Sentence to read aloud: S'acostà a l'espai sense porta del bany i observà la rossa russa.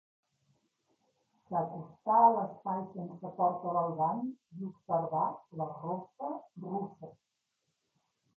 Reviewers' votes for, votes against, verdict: 0, 2, rejected